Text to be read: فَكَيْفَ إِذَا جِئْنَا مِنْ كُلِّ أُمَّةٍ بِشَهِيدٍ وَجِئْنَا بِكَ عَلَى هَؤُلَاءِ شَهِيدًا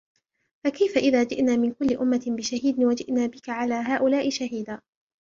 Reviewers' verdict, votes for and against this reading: accepted, 2, 1